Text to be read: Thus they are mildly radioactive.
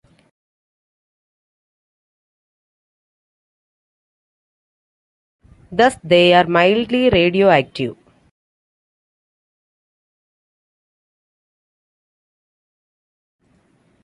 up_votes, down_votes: 0, 2